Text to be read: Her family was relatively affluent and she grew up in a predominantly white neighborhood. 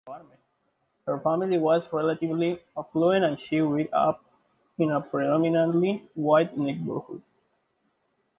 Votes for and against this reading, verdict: 2, 1, accepted